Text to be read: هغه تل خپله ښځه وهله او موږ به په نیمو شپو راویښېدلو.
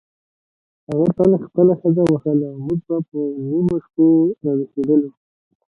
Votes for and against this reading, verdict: 2, 1, accepted